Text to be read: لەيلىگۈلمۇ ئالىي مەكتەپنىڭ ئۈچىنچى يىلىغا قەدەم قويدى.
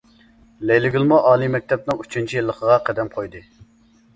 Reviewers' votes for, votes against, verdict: 2, 0, accepted